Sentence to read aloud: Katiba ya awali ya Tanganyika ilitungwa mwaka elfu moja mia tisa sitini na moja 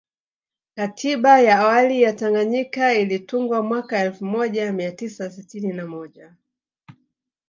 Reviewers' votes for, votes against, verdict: 2, 1, accepted